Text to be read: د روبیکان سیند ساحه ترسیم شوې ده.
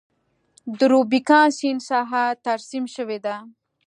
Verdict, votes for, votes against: accepted, 2, 0